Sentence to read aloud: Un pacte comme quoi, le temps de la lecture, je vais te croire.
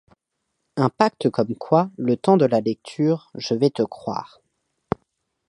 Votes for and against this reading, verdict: 2, 0, accepted